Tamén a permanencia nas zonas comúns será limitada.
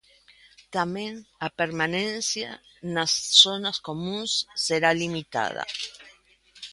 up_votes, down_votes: 2, 0